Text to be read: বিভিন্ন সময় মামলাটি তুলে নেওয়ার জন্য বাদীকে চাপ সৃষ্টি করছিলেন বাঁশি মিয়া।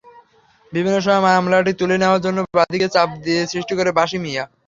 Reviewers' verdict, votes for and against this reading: rejected, 0, 3